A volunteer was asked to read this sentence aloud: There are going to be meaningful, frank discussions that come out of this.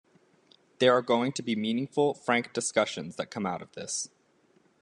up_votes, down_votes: 2, 0